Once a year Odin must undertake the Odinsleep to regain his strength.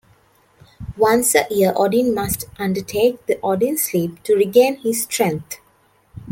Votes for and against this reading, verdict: 2, 0, accepted